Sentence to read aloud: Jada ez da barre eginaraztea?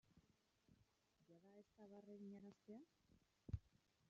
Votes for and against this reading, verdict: 0, 2, rejected